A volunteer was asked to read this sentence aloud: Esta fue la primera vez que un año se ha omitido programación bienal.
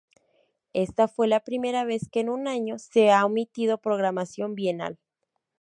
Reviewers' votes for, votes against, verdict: 2, 0, accepted